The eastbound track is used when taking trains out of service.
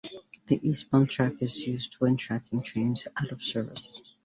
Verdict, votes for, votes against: rejected, 1, 2